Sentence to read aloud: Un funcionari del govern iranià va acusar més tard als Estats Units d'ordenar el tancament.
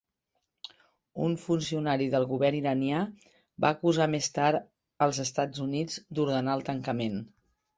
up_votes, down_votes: 3, 0